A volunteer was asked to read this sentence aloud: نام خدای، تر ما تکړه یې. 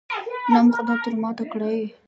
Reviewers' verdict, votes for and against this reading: accepted, 2, 1